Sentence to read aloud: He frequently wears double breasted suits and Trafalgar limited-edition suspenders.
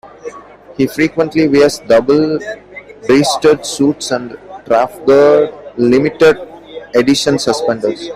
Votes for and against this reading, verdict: 0, 2, rejected